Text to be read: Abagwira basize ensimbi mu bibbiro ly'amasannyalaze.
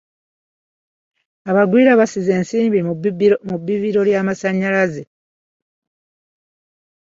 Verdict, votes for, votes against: accepted, 2, 0